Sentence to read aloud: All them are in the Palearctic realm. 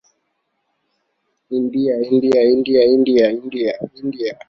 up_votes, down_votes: 0, 3